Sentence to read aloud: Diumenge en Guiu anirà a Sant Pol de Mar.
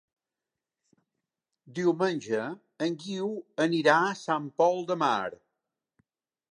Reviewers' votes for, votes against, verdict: 2, 0, accepted